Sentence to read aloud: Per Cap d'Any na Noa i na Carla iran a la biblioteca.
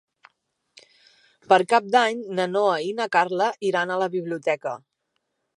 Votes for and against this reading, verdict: 3, 0, accepted